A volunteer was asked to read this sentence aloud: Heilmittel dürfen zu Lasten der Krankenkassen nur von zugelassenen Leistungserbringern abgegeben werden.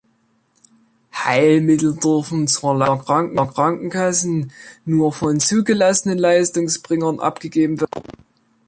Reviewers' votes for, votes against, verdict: 0, 2, rejected